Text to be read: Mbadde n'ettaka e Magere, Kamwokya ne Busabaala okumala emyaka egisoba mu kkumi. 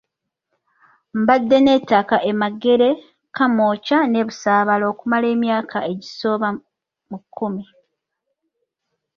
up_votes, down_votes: 2, 0